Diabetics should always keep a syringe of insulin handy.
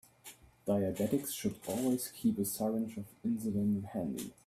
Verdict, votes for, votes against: accepted, 2, 1